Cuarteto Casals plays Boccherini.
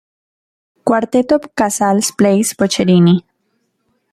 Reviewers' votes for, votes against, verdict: 2, 1, accepted